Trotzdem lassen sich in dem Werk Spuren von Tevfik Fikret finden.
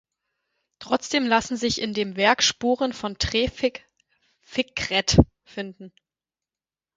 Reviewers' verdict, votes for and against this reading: rejected, 0, 4